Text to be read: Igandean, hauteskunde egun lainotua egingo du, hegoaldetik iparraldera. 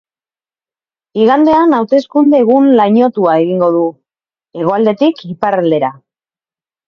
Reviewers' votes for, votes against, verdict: 2, 0, accepted